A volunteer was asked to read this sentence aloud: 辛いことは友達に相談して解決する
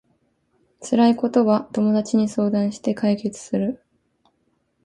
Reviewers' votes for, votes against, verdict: 2, 0, accepted